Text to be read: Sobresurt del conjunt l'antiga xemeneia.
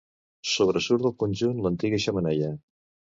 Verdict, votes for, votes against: accepted, 2, 0